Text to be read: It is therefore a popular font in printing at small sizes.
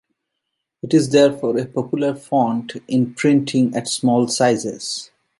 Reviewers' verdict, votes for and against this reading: accepted, 2, 0